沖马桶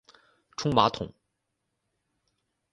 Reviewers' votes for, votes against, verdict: 4, 2, accepted